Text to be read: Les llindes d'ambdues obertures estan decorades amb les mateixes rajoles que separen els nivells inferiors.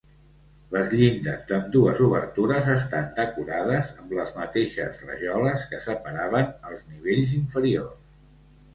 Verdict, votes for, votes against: rejected, 1, 2